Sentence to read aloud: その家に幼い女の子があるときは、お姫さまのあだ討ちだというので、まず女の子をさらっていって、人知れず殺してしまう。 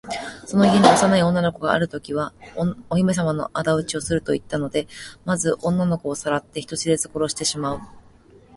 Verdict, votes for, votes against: rejected, 0, 3